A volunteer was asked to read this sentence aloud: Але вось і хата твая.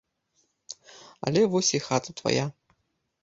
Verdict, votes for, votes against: accepted, 2, 0